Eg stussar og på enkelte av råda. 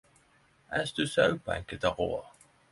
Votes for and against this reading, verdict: 10, 0, accepted